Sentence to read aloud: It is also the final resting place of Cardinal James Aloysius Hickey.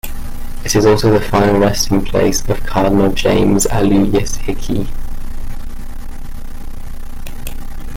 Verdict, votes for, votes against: rejected, 1, 2